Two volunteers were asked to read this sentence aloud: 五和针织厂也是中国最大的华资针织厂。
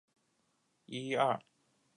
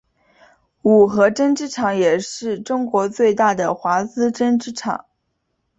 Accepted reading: second